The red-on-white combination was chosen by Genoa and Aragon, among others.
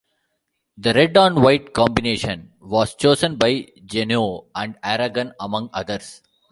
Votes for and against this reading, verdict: 2, 0, accepted